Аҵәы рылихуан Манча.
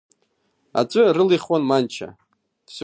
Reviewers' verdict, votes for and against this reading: accepted, 2, 0